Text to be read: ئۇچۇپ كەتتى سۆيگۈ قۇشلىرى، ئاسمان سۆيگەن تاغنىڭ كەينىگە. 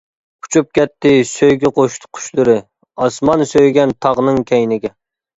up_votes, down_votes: 0, 2